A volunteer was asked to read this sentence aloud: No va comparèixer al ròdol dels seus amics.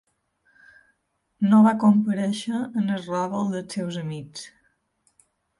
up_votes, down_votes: 1, 2